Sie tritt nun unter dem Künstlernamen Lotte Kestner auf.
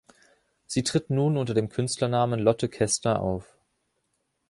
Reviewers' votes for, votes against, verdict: 0, 2, rejected